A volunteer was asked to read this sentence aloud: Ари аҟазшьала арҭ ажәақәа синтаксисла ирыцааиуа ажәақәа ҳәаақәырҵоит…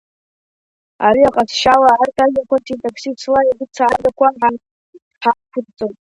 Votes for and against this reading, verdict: 0, 2, rejected